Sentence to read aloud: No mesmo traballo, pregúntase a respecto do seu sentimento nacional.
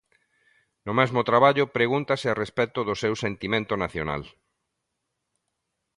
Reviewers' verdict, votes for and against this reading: accepted, 2, 0